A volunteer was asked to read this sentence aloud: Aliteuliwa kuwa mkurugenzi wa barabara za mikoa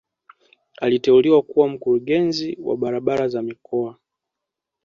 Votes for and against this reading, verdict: 2, 1, accepted